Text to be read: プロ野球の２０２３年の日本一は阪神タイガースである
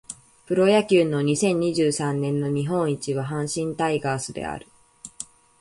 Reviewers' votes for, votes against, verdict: 0, 2, rejected